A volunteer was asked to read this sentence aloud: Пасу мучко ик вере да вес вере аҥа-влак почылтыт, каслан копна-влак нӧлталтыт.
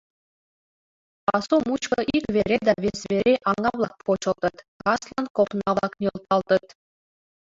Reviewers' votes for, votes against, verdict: 0, 2, rejected